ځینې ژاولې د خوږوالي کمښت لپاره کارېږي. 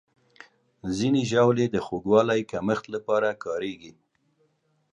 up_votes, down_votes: 2, 0